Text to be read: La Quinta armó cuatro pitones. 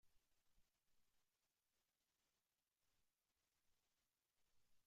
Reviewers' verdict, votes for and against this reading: rejected, 0, 2